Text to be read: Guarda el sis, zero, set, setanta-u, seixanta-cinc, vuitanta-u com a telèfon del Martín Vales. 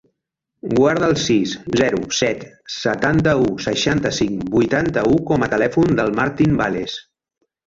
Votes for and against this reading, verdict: 0, 2, rejected